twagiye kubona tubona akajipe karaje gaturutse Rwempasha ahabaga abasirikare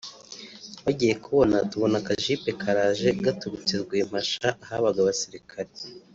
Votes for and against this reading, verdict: 3, 0, accepted